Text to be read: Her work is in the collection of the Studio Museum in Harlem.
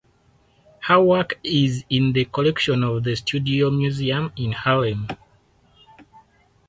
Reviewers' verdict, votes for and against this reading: accepted, 4, 0